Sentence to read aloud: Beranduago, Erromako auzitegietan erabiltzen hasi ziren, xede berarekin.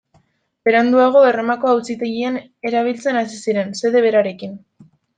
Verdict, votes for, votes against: rejected, 0, 2